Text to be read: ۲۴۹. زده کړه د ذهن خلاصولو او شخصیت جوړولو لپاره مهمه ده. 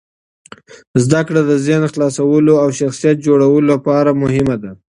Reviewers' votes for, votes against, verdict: 0, 2, rejected